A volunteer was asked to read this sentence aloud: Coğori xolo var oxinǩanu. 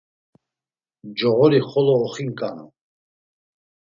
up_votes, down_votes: 1, 2